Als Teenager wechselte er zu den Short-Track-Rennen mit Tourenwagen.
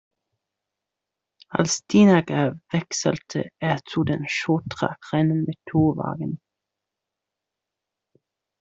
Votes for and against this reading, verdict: 0, 2, rejected